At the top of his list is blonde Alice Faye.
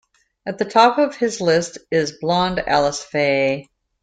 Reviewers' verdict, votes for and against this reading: accepted, 2, 0